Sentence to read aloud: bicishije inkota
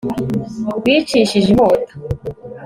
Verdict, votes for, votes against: accepted, 2, 0